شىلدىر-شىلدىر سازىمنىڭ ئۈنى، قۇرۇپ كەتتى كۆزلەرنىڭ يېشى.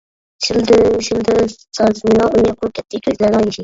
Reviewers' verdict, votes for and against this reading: rejected, 0, 2